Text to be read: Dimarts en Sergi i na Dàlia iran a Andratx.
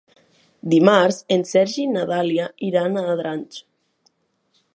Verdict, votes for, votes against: accepted, 2, 0